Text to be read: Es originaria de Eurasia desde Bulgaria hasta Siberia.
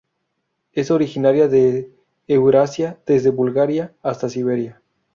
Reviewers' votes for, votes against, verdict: 0, 2, rejected